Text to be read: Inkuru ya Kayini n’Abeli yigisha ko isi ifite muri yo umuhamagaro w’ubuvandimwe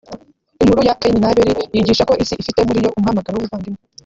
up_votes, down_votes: 1, 2